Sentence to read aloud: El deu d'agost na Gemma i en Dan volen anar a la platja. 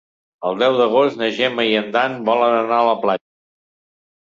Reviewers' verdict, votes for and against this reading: rejected, 1, 2